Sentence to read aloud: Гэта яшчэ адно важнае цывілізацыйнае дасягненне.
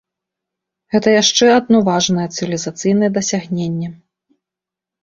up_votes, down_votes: 1, 2